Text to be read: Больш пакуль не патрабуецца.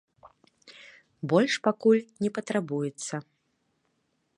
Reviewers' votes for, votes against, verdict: 2, 0, accepted